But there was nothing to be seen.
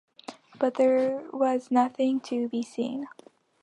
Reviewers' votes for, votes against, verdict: 2, 0, accepted